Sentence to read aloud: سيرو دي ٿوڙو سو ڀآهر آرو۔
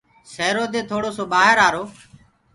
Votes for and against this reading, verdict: 2, 0, accepted